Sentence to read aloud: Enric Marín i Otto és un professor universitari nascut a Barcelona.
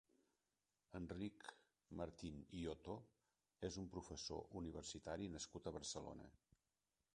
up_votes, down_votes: 0, 3